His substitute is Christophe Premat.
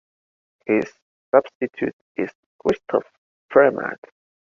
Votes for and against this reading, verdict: 2, 1, accepted